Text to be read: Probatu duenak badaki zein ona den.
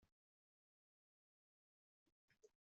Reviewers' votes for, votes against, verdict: 0, 2, rejected